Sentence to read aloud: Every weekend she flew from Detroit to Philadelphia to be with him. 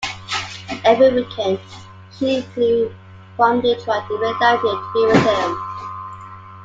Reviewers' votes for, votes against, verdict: 2, 1, accepted